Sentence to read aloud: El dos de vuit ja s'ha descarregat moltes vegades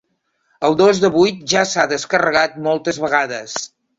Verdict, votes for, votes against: accepted, 4, 0